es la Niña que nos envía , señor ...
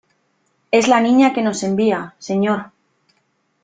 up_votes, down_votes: 3, 0